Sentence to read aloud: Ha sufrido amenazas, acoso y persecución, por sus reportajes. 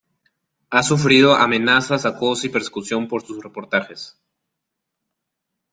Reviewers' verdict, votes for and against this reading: accepted, 2, 0